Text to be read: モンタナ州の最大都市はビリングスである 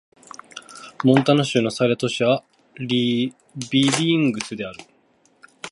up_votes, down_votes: 0, 2